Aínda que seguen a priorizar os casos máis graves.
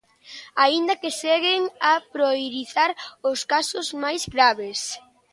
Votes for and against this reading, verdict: 0, 3, rejected